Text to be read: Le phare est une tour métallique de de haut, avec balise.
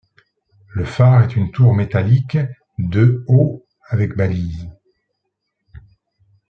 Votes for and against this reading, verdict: 1, 2, rejected